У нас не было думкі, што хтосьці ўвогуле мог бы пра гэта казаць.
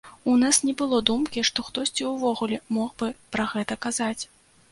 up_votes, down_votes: 2, 0